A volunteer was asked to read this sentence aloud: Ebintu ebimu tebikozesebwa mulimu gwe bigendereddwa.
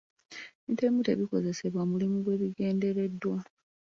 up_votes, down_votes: 1, 2